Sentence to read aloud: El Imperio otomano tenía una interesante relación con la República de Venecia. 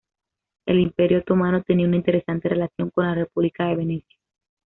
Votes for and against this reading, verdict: 2, 0, accepted